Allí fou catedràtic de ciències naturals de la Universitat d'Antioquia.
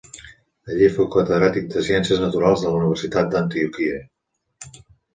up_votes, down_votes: 2, 0